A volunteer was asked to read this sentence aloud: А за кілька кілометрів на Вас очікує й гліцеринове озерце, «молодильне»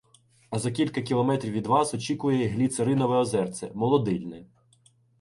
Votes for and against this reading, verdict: 0, 2, rejected